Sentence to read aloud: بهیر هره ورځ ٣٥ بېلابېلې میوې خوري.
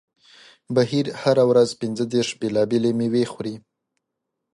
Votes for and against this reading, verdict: 0, 2, rejected